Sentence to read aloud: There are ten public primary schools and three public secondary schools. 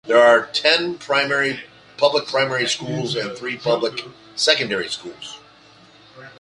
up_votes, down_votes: 1, 2